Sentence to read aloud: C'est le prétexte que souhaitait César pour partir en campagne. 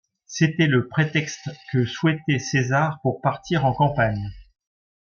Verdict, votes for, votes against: rejected, 0, 2